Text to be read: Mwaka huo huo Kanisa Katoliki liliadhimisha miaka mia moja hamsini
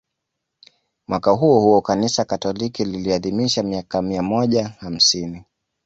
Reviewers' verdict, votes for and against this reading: accepted, 2, 0